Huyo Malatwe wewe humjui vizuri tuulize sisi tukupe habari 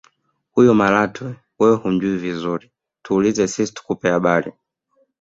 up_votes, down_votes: 2, 0